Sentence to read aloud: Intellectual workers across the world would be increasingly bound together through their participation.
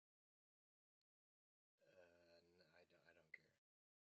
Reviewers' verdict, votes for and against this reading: rejected, 0, 2